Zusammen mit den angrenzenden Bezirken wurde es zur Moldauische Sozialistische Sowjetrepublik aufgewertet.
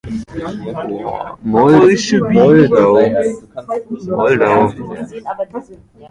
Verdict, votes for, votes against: rejected, 0, 2